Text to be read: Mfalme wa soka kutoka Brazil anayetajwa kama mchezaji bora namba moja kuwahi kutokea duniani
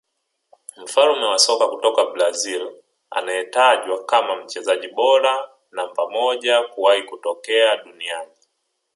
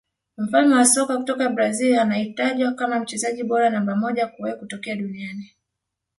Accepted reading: first